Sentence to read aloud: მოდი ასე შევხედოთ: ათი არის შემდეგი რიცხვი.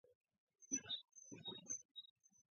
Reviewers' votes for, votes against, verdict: 0, 2, rejected